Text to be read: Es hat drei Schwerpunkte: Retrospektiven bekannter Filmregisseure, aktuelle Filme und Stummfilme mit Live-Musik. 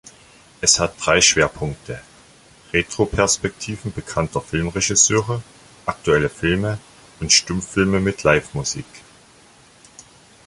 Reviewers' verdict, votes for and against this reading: rejected, 1, 2